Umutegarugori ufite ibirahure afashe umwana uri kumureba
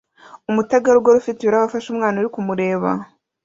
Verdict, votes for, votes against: accepted, 2, 0